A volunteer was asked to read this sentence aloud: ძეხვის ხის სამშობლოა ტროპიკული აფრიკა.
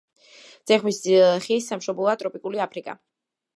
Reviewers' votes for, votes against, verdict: 2, 0, accepted